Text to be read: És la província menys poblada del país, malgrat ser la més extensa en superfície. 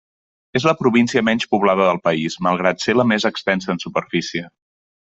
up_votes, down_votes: 3, 0